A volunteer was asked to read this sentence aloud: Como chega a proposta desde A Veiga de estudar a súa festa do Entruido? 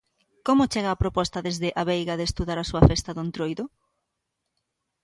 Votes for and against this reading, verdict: 0, 2, rejected